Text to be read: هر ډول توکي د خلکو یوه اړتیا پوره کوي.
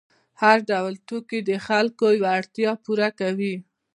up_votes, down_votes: 2, 0